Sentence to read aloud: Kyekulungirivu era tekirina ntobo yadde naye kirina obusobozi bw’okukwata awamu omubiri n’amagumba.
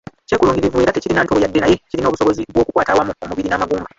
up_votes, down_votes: 0, 2